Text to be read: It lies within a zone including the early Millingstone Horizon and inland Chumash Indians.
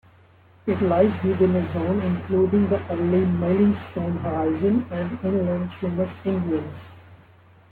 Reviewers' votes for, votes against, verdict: 1, 3, rejected